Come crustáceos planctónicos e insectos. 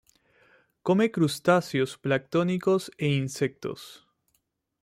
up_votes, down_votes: 2, 0